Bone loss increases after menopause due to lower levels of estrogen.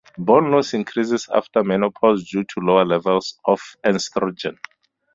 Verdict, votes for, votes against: accepted, 2, 0